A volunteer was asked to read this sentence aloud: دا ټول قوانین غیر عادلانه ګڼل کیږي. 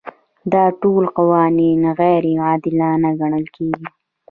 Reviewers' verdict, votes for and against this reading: accepted, 2, 0